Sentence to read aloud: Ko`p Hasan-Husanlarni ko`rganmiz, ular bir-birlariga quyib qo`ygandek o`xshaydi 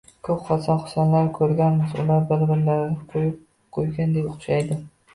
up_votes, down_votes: 1, 2